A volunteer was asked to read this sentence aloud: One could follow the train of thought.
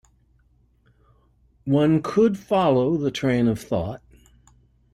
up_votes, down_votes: 2, 0